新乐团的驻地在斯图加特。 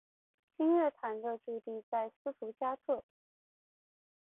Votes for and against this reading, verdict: 2, 0, accepted